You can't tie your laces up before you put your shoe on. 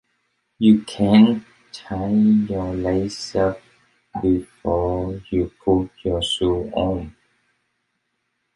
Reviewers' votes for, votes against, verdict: 2, 1, accepted